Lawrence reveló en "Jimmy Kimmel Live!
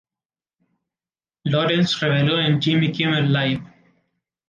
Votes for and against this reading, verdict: 2, 2, rejected